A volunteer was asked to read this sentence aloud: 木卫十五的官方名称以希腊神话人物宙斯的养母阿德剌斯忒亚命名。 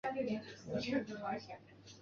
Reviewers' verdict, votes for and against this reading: rejected, 0, 2